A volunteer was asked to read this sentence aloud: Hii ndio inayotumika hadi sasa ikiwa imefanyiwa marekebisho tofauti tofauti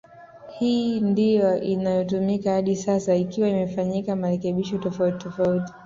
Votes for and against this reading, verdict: 2, 1, accepted